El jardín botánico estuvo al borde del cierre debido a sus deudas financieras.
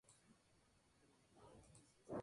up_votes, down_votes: 2, 0